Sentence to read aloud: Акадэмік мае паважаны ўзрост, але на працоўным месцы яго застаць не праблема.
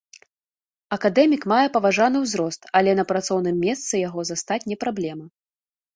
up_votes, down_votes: 2, 0